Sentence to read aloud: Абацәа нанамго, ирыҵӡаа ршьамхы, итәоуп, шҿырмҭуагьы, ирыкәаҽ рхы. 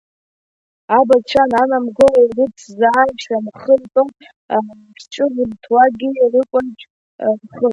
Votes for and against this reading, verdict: 0, 2, rejected